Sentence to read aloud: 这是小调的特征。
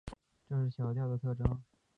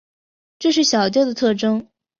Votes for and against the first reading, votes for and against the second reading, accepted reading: 1, 2, 2, 0, second